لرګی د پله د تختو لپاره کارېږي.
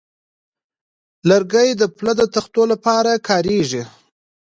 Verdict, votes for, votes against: accepted, 2, 0